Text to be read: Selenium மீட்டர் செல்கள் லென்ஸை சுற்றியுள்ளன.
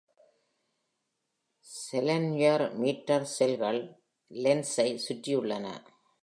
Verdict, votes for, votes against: rejected, 0, 2